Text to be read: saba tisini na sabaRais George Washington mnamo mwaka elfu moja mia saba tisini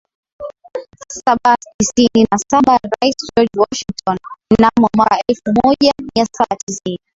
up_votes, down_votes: 22, 4